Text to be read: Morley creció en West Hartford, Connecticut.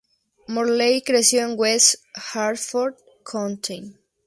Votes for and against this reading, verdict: 0, 2, rejected